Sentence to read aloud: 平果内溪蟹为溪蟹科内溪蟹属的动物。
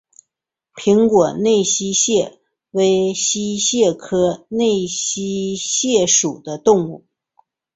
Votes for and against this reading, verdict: 1, 2, rejected